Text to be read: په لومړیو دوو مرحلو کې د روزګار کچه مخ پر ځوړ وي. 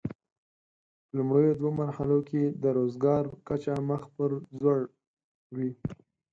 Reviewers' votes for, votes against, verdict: 4, 0, accepted